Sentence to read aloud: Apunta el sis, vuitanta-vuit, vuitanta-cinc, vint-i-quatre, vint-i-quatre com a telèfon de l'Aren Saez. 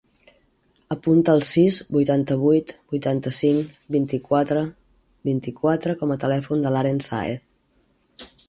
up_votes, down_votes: 6, 0